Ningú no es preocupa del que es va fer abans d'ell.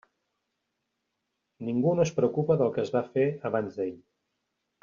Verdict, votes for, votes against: accepted, 3, 0